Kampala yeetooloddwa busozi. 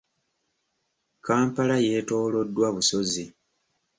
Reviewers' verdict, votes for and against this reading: accepted, 3, 0